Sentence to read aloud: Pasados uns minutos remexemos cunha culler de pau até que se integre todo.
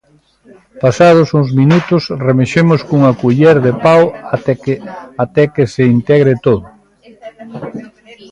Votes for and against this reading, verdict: 0, 2, rejected